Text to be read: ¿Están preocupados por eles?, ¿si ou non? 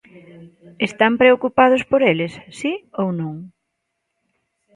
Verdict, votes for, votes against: accepted, 2, 0